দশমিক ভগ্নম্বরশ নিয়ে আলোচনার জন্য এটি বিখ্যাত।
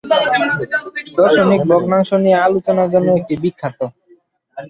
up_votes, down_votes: 1, 3